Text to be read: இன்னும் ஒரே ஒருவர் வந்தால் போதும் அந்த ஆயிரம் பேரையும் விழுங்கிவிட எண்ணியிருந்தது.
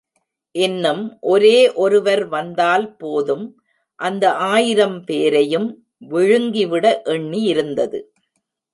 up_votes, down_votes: 1, 2